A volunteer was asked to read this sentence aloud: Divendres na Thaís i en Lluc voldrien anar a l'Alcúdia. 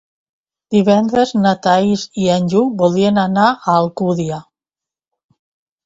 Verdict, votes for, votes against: rejected, 2, 4